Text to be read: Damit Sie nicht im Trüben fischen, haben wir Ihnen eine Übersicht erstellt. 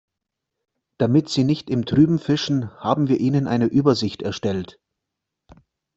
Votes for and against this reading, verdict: 2, 0, accepted